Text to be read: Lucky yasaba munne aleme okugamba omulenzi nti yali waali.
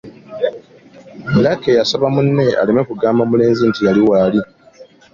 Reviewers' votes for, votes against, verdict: 2, 0, accepted